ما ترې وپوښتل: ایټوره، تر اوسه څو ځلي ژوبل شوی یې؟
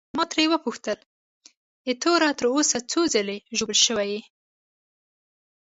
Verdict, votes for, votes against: accepted, 2, 0